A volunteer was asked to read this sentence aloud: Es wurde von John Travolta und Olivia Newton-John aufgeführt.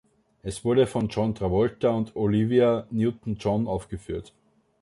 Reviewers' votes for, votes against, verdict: 2, 0, accepted